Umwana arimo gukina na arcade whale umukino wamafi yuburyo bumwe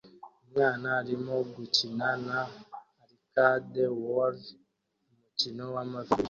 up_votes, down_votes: 0, 2